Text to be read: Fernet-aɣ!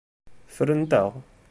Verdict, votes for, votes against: rejected, 1, 2